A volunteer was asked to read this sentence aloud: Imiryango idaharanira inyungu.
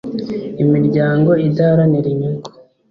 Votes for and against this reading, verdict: 3, 0, accepted